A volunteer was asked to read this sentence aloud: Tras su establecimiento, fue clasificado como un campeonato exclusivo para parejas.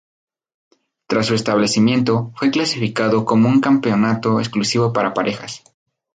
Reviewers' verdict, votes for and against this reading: rejected, 0, 2